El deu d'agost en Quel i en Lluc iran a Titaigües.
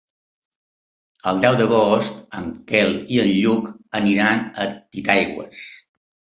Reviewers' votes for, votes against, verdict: 0, 2, rejected